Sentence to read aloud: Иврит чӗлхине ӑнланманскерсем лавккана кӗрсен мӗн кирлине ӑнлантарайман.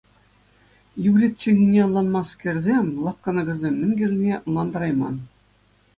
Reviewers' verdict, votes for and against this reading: accepted, 2, 0